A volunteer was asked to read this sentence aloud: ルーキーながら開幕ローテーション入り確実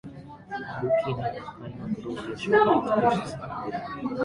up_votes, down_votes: 0, 2